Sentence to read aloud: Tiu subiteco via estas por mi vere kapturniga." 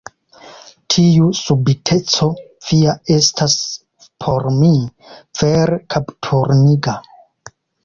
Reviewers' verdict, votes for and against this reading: rejected, 0, 2